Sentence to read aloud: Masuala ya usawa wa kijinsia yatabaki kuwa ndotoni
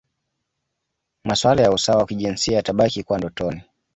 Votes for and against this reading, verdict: 2, 0, accepted